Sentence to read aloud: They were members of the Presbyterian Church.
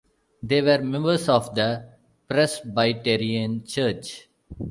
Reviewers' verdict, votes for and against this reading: accepted, 2, 0